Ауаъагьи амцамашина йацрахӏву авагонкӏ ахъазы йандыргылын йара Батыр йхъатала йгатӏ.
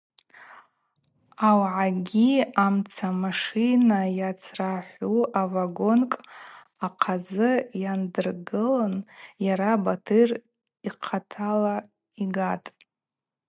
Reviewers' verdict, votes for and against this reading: accepted, 2, 0